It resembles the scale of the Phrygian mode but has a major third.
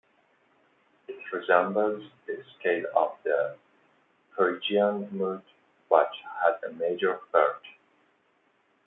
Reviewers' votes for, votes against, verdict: 2, 1, accepted